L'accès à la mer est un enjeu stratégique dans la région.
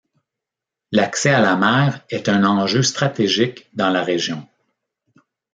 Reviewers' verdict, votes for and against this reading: accepted, 2, 0